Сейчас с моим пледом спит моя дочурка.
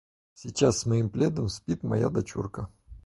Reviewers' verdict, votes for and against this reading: accepted, 4, 0